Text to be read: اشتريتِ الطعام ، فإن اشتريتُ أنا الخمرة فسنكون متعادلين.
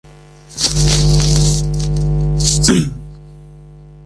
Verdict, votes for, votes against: rejected, 1, 2